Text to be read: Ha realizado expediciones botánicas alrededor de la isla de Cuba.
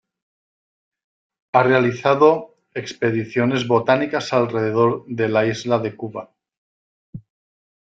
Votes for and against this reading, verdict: 2, 0, accepted